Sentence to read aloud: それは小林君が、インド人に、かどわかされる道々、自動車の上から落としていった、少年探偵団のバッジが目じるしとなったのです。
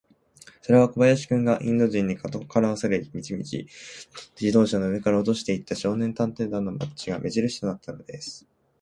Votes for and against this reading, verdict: 2, 0, accepted